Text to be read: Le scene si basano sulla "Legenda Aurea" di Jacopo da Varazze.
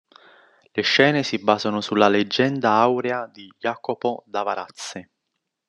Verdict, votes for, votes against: accepted, 2, 0